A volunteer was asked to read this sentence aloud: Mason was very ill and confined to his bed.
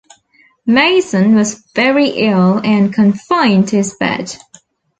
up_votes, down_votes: 2, 0